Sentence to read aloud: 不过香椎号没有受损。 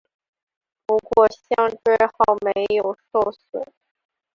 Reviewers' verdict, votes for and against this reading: accepted, 2, 1